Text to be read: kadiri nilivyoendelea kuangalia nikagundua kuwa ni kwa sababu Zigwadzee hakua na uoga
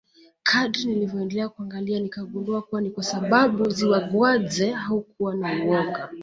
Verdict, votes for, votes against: rejected, 0, 2